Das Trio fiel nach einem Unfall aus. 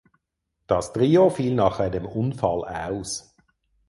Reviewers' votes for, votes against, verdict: 4, 0, accepted